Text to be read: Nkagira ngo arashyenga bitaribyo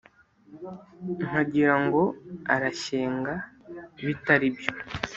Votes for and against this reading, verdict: 2, 0, accepted